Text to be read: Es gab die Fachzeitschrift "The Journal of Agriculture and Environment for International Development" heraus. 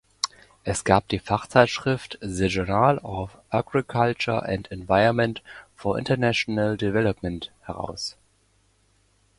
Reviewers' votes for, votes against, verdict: 2, 1, accepted